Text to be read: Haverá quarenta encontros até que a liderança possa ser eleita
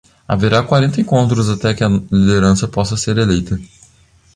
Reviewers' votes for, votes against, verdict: 0, 2, rejected